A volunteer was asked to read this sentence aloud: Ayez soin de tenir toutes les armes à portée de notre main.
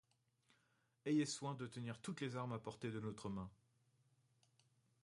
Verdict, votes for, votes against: rejected, 1, 2